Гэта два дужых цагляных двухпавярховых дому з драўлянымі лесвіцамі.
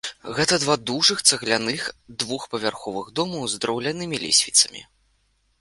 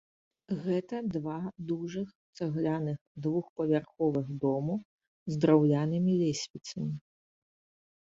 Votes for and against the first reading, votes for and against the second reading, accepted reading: 2, 3, 2, 1, second